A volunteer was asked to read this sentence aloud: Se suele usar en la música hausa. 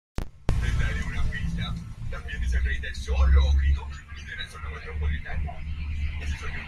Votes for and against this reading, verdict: 0, 2, rejected